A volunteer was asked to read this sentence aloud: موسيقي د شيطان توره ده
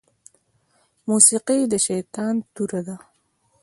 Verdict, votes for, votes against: accepted, 2, 0